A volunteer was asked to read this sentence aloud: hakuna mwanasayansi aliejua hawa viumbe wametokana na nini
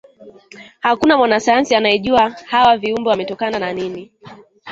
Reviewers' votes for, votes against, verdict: 3, 1, accepted